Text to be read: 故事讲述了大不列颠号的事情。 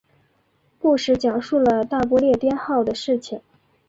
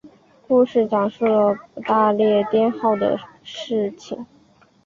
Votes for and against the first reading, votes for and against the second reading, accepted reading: 4, 0, 0, 2, first